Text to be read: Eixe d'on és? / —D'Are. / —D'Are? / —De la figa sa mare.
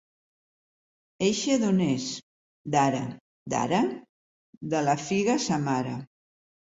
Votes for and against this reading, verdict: 3, 0, accepted